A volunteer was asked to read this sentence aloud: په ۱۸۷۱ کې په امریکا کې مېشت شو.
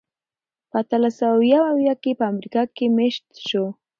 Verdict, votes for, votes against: rejected, 0, 2